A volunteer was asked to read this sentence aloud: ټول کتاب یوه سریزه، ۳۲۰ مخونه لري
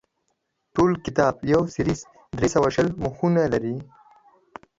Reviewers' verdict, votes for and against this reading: rejected, 0, 2